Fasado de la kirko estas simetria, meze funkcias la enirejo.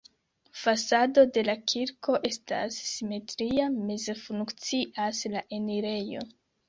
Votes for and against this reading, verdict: 3, 0, accepted